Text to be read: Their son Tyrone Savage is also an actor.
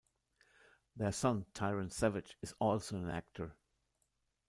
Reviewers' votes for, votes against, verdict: 0, 2, rejected